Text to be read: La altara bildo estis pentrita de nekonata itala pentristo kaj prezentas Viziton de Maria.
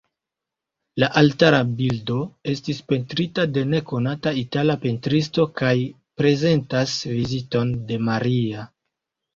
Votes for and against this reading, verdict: 1, 2, rejected